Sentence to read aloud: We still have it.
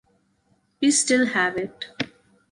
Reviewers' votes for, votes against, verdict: 2, 0, accepted